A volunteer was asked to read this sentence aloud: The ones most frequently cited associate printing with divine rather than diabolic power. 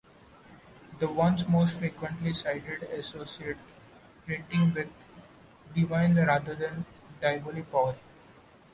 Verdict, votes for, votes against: accepted, 2, 0